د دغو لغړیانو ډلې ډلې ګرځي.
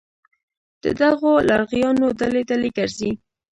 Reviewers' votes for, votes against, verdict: 1, 2, rejected